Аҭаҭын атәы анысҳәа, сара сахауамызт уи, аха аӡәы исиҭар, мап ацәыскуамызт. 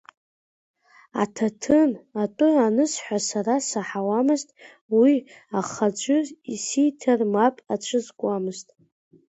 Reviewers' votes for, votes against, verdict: 0, 2, rejected